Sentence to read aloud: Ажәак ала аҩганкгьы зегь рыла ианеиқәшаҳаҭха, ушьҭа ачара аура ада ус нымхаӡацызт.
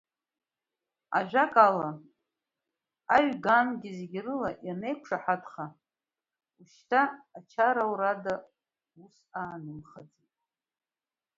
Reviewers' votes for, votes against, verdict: 1, 2, rejected